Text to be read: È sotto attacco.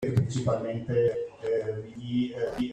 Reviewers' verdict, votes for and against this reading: rejected, 0, 2